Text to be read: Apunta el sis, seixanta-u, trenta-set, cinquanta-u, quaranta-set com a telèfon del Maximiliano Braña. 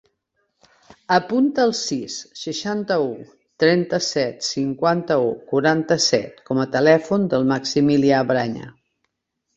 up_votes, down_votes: 1, 3